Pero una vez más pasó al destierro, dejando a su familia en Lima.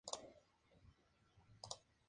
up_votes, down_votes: 2, 0